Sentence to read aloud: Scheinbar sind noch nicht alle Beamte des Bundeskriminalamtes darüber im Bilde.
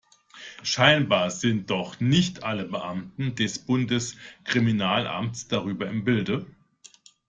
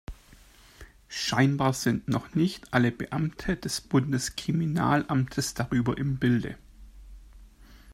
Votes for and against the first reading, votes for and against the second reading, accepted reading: 1, 2, 2, 0, second